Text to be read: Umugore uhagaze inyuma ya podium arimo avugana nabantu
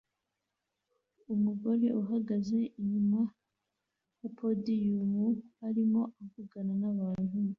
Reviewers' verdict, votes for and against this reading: accepted, 2, 0